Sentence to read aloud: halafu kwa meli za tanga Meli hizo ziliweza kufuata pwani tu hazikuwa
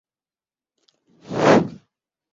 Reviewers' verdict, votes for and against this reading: rejected, 0, 21